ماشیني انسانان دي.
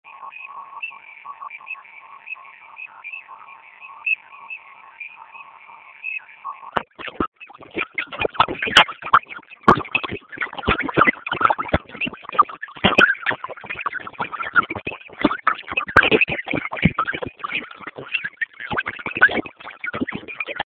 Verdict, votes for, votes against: rejected, 1, 2